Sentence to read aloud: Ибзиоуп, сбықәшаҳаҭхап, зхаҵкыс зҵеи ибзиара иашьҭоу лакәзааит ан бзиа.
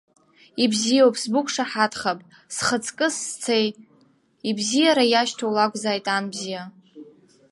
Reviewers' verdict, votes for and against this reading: rejected, 1, 2